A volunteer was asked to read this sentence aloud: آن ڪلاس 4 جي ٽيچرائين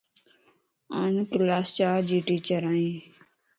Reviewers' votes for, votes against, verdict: 0, 2, rejected